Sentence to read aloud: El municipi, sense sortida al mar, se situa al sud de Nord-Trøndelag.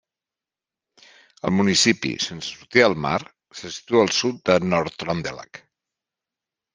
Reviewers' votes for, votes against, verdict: 2, 0, accepted